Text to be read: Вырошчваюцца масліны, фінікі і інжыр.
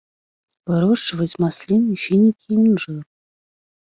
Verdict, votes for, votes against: rejected, 1, 2